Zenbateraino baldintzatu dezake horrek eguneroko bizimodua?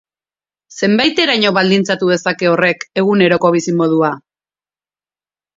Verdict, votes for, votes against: rejected, 2, 4